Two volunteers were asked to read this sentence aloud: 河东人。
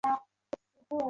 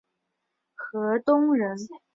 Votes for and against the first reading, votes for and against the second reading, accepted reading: 1, 2, 2, 0, second